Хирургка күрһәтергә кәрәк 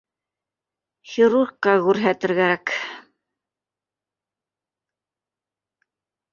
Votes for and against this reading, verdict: 0, 2, rejected